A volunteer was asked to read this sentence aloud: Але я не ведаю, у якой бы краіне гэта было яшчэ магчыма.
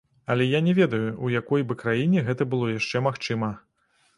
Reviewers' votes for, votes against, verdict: 2, 0, accepted